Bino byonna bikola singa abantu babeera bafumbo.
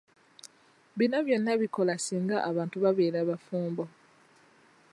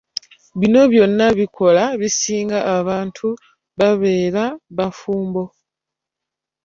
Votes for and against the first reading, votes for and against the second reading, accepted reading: 2, 0, 1, 2, first